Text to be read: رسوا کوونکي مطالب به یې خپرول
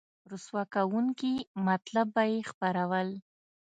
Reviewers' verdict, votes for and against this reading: rejected, 1, 2